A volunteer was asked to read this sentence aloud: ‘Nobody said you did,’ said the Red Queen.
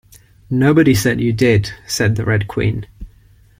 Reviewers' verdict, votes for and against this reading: accepted, 2, 0